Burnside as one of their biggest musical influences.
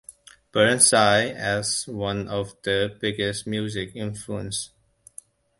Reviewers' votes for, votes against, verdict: 0, 2, rejected